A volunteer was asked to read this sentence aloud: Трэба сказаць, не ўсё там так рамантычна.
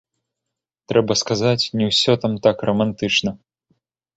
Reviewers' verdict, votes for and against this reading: rejected, 1, 2